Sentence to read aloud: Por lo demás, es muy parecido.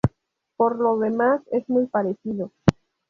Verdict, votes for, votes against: accepted, 2, 0